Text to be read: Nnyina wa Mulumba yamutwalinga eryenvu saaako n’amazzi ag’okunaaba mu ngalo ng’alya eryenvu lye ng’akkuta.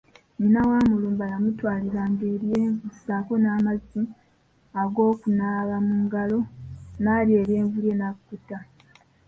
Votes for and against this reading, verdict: 3, 2, accepted